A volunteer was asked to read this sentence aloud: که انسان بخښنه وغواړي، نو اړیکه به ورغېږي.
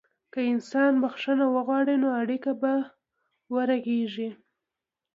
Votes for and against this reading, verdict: 2, 0, accepted